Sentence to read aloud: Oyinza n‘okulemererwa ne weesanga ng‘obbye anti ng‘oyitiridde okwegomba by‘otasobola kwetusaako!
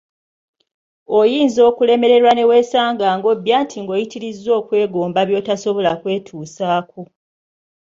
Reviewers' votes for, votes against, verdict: 1, 2, rejected